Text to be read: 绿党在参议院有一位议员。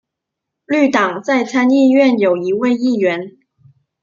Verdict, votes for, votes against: accepted, 2, 0